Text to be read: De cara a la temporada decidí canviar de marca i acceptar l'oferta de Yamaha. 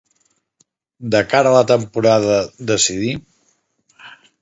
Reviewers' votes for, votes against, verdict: 0, 6, rejected